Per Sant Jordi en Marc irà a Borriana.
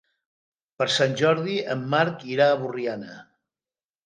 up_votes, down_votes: 3, 0